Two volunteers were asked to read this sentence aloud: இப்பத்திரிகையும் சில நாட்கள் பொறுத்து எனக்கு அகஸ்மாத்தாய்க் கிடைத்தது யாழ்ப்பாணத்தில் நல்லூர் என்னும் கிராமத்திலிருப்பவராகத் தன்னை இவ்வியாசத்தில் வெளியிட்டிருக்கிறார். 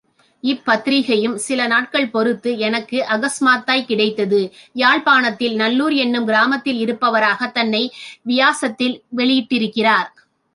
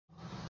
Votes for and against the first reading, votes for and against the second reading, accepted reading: 3, 0, 0, 2, first